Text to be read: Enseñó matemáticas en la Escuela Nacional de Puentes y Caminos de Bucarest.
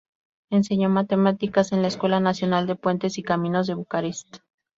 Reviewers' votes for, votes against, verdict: 2, 0, accepted